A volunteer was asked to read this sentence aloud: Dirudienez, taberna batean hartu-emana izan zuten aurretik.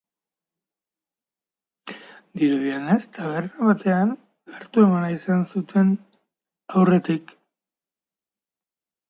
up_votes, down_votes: 2, 1